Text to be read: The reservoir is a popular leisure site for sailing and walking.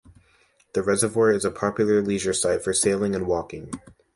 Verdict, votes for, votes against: accepted, 2, 0